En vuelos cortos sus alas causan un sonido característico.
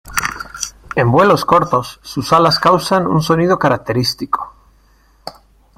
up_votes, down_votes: 1, 2